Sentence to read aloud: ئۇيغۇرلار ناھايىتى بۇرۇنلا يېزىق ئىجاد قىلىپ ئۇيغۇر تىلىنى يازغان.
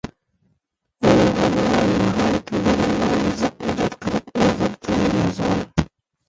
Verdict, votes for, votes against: rejected, 0, 2